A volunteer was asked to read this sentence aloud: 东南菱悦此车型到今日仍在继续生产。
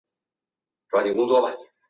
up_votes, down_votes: 1, 2